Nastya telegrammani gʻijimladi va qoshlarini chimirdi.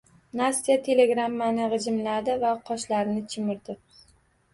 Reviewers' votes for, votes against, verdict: 2, 0, accepted